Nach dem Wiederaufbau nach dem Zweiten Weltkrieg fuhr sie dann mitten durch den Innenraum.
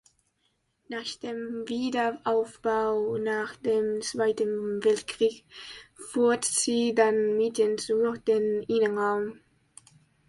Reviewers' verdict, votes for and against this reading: rejected, 0, 2